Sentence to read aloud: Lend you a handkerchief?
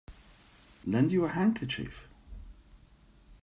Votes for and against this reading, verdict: 0, 2, rejected